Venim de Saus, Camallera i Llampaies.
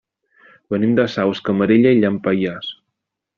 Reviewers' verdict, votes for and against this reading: rejected, 0, 2